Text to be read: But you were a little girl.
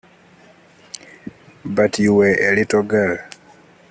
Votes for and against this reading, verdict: 0, 2, rejected